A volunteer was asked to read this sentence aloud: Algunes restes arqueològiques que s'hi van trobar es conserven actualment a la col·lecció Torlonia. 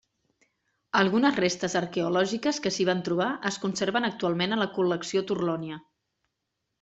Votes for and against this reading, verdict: 2, 0, accepted